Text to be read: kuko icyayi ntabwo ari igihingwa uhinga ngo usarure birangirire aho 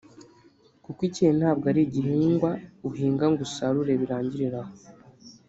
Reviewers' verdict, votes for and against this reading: rejected, 0, 2